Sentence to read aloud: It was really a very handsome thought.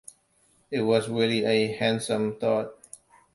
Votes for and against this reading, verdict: 0, 2, rejected